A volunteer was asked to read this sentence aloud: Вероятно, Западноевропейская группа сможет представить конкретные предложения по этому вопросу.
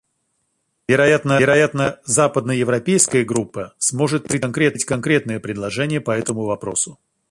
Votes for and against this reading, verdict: 0, 2, rejected